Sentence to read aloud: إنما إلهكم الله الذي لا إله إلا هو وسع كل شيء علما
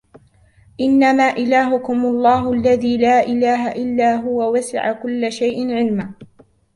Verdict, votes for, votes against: accepted, 2, 0